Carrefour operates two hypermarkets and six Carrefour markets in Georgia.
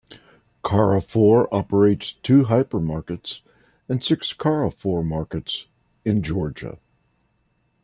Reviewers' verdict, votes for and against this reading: rejected, 0, 2